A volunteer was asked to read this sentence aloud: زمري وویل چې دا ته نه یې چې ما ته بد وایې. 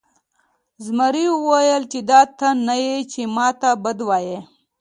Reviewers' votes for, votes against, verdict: 2, 0, accepted